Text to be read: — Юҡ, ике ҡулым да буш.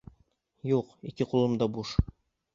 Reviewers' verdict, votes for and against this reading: accepted, 2, 0